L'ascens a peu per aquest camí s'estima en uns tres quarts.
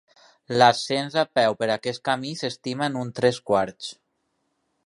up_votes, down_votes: 2, 0